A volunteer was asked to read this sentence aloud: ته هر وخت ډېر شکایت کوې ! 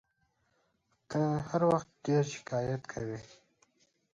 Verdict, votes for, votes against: rejected, 1, 2